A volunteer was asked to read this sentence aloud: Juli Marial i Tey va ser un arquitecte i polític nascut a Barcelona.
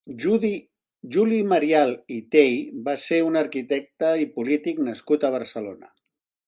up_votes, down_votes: 0, 2